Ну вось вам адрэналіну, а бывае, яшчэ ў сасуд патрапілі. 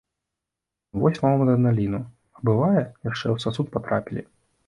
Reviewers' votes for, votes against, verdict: 1, 2, rejected